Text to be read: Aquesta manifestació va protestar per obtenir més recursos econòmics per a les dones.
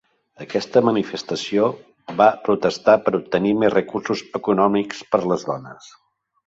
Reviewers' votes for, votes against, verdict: 0, 2, rejected